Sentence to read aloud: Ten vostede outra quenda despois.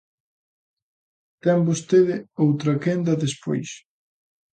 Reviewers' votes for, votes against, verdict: 2, 0, accepted